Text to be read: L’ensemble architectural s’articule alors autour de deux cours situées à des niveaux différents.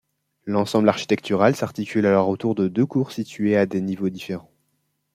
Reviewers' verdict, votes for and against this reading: accepted, 2, 0